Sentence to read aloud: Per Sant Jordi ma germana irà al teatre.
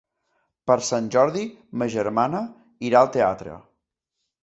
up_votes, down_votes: 2, 0